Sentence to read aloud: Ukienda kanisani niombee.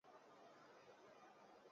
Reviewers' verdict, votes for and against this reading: rejected, 1, 2